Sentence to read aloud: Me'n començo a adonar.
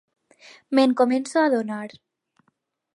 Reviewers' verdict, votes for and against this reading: accepted, 4, 2